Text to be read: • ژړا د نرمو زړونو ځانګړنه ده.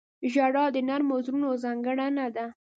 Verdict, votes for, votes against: accepted, 2, 0